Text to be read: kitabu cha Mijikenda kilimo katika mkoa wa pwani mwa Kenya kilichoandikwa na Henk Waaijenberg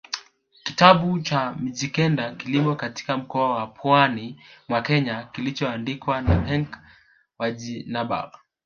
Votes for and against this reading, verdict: 1, 2, rejected